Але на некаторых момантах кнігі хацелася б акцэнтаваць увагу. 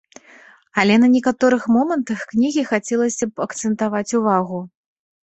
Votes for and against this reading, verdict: 2, 0, accepted